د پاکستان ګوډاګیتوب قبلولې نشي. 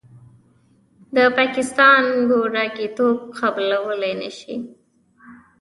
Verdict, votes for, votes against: accepted, 2, 0